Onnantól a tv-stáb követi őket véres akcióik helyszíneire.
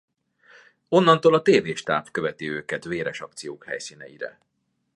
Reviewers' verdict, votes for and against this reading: rejected, 0, 2